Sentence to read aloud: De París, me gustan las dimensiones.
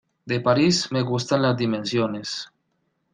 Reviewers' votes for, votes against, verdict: 2, 0, accepted